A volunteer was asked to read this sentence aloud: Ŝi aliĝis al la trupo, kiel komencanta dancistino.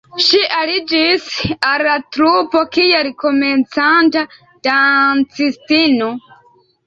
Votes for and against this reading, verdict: 1, 2, rejected